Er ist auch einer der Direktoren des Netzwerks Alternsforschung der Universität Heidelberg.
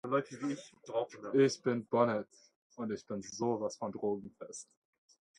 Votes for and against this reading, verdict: 0, 2, rejected